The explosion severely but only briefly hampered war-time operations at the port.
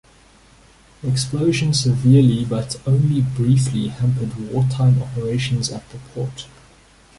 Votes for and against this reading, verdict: 1, 2, rejected